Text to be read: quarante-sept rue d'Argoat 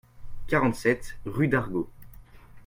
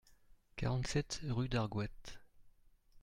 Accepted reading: second